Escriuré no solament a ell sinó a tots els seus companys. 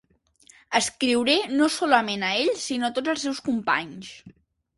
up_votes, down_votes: 2, 0